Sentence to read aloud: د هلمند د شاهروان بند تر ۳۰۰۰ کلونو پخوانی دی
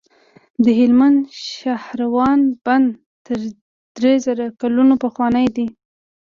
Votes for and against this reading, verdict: 0, 2, rejected